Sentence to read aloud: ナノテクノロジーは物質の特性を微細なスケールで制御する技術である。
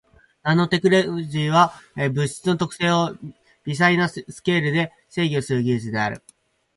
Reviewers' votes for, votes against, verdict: 10, 12, rejected